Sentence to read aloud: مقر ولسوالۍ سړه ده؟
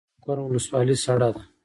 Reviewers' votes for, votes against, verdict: 2, 1, accepted